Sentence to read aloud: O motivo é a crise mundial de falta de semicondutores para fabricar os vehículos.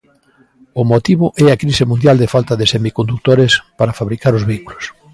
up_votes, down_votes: 2, 0